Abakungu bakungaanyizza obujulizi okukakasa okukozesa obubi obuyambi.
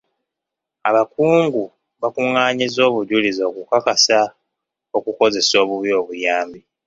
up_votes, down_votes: 2, 0